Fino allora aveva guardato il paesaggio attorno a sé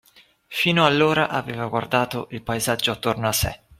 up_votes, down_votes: 2, 0